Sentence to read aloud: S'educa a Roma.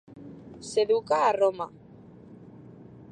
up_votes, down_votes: 2, 0